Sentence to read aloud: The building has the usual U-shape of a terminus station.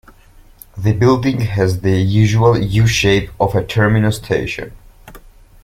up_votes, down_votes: 2, 0